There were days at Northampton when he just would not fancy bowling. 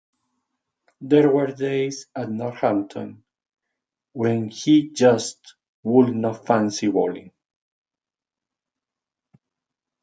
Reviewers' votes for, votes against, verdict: 2, 0, accepted